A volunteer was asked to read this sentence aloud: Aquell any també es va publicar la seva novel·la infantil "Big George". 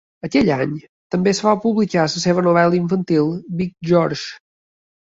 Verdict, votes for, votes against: rejected, 1, 2